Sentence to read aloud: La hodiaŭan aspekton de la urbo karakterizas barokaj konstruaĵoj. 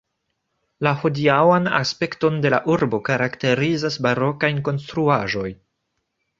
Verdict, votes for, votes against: accepted, 3, 2